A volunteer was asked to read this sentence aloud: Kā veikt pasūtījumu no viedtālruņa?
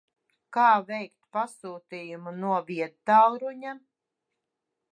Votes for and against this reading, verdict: 2, 0, accepted